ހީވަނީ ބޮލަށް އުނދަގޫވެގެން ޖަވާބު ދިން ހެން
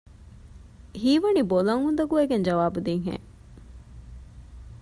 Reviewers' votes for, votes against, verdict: 1, 2, rejected